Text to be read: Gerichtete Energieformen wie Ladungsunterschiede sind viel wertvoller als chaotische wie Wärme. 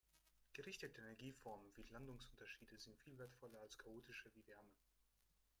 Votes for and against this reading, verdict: 0, 3, rejected